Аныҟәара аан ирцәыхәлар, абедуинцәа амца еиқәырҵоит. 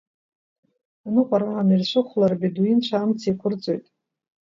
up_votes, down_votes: 1, 2